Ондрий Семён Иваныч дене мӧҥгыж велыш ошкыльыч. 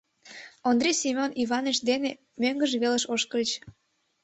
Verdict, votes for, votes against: accepted, 2, 0